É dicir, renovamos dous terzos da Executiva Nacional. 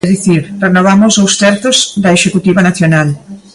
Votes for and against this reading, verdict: 2, 0, accepted